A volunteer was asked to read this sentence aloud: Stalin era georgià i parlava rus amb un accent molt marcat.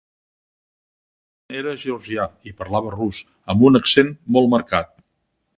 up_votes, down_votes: 0, 2